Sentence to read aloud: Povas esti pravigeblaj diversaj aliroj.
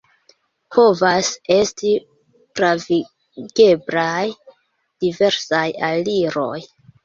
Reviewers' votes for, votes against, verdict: 1, 2, rejected